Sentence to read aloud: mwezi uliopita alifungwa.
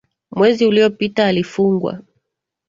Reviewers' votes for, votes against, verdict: 1, 2, rejected